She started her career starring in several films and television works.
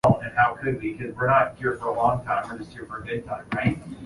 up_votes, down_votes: 0, 2